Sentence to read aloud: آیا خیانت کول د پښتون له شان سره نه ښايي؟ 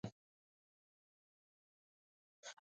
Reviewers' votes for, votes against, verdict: 0, 2, rejected